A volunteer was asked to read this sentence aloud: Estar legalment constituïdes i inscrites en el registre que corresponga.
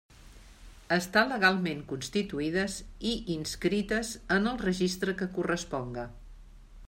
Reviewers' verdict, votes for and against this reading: accepted, 2, 0